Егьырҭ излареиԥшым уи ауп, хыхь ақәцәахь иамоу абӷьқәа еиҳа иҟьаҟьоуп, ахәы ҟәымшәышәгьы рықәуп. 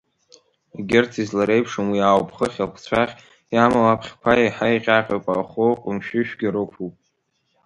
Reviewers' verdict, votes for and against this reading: accepted, 2, 0